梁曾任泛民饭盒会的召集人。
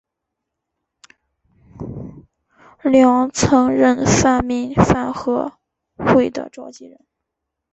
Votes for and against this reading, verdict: 0, 2, rejected